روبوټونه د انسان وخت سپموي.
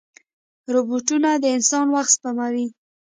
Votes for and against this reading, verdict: 2, 0, accepted